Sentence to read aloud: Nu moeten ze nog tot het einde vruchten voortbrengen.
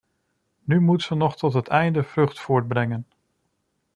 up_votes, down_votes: 0, 2